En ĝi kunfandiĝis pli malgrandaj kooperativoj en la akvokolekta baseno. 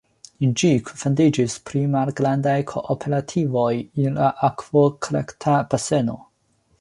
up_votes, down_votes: 2, 0